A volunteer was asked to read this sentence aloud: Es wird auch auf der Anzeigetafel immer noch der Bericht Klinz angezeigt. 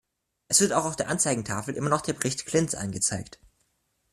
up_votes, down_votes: 2, 1